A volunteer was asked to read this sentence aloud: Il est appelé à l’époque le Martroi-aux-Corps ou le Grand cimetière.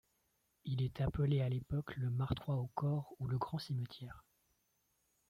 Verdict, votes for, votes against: rejected, 1, 2